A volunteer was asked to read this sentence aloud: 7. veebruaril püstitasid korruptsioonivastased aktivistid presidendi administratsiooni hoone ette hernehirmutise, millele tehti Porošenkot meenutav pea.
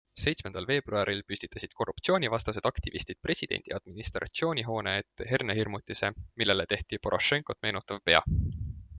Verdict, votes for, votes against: rejected, 0, 2